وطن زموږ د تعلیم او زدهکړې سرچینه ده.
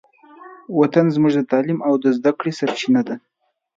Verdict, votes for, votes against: accepted, 2, 0